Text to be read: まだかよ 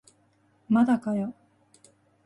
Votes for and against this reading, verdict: 12, 2, accepted